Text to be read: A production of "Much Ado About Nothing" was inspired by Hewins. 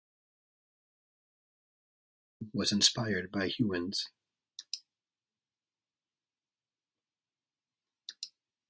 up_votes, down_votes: 0, 2